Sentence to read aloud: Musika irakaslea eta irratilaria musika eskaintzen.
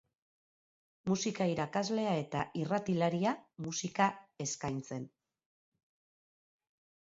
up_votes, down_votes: 0, 2